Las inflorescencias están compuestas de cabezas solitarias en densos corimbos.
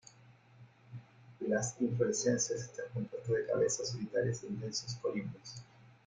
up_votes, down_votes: 1, 2